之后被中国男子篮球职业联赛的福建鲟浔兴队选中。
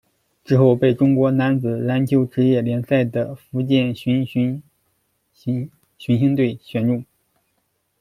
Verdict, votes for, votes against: rejected, 0, 3